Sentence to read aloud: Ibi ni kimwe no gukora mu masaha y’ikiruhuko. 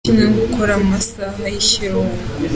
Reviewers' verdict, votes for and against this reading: accepted, 2, 1